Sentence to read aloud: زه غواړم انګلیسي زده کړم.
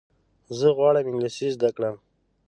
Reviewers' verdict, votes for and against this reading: accepted, 2, 0